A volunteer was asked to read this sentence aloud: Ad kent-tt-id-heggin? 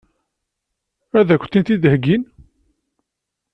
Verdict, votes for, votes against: rejected, 1, 2